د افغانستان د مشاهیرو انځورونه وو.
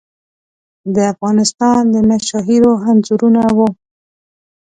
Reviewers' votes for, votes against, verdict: 2, 0, accepted